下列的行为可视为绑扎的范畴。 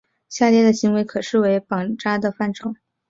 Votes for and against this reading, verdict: 10, 0, accepted